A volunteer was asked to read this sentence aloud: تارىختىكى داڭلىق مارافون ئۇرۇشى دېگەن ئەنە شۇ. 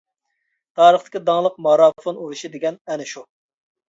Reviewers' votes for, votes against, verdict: 2, 1, accepted